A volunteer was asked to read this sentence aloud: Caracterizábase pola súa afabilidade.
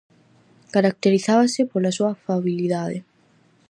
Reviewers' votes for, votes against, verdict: 4, 0, accepted